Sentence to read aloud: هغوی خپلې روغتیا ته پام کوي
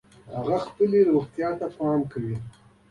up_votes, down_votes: 2, 1